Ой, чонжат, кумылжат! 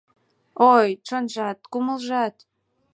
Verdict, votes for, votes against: accepted, 2, 0